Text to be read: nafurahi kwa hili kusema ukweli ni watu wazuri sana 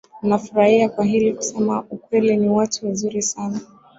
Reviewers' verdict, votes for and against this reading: rejected, 1, 2